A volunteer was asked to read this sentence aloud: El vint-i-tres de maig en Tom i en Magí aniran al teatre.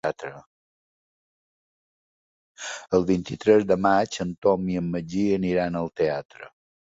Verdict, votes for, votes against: rejected, 1, 2